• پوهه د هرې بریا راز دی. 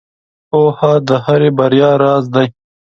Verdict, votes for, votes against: accepted, 2, 0